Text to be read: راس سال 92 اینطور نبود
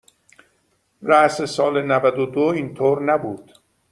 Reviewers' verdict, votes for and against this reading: rejected, 0, 2